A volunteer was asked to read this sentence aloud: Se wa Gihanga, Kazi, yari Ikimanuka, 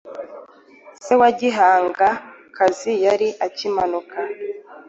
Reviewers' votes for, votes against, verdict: 1, 2, rejected